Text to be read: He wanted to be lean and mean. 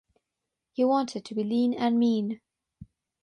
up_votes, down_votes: 6, 0